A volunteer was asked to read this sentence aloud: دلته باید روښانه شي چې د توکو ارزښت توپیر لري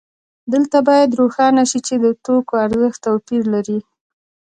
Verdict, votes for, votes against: accepted, 2, 0